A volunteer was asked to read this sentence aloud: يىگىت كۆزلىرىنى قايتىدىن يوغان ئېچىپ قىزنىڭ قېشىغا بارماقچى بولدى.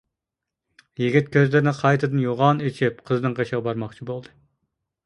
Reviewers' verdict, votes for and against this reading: accepted, 2, 0